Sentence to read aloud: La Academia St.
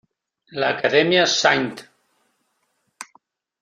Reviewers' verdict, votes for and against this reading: rejected, 1, 2